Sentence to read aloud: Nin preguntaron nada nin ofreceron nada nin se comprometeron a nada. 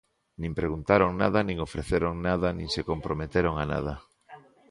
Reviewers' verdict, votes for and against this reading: rejected, 0, 2